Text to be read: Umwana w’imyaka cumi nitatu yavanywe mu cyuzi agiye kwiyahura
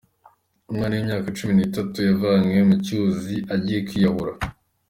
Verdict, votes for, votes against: accepted, 4, 2